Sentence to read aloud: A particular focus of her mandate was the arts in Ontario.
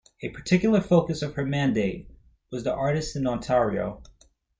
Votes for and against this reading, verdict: 0, 2, rejected